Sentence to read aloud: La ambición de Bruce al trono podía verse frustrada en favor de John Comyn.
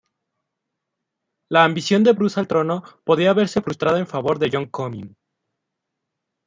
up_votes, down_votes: 1, 2